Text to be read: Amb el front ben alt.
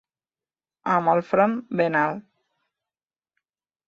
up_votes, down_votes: 3, 0